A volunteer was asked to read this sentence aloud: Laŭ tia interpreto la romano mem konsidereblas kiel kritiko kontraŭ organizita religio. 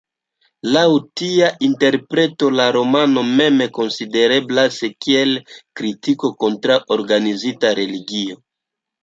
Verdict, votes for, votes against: accepted, 2, 1